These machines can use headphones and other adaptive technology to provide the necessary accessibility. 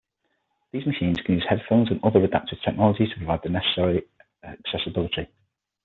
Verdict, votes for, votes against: accepted, 6, 0